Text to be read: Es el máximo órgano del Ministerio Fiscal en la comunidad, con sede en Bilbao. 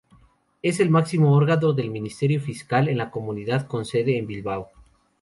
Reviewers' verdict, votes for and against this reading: rejected, 0, 2